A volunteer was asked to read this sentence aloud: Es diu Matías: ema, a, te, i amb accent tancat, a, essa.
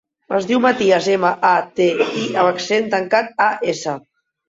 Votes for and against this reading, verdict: 3, 2, accepted